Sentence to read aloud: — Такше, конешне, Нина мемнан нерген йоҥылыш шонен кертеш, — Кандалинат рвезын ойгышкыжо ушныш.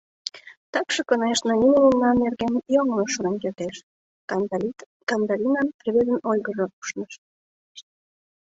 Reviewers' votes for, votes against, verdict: 1, 2, rejected